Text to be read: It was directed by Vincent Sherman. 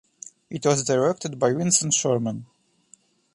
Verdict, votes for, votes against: accepted, 2, 1